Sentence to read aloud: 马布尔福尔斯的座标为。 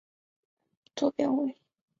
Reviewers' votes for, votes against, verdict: 0, 3, rejected